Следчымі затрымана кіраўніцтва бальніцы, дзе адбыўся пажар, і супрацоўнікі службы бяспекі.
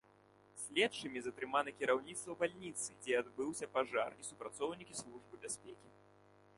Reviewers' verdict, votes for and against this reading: accepted, 2, 0